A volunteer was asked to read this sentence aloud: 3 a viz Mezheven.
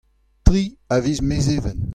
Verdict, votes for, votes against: rejected, 0, 2